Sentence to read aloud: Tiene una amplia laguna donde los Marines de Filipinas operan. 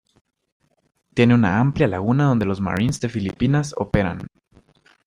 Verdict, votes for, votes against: accepted, 2, 0